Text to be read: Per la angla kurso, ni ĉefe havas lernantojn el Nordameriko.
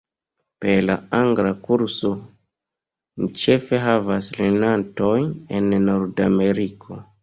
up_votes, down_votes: 0, 2